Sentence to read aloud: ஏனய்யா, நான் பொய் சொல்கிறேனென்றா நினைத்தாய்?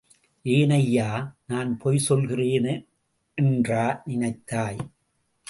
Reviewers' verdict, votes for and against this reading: rejected, 0, 2